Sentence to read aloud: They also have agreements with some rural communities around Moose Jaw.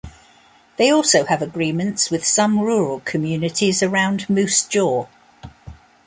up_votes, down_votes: 2, 0